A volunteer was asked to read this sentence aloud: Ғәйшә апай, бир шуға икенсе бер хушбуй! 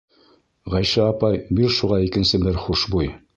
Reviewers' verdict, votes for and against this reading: rejected, 1, 2